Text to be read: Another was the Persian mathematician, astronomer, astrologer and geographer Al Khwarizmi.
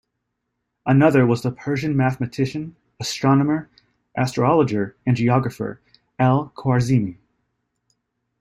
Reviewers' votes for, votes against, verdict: 2, 0, accepted